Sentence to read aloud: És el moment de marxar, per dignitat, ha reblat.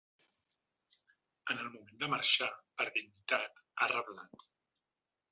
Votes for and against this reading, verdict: 1, 2, rejected